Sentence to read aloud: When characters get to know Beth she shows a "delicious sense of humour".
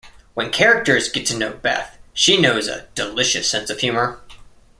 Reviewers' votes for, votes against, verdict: 0, 2, rejected